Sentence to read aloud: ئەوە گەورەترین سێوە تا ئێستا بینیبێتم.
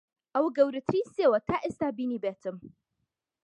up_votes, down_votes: 2, 0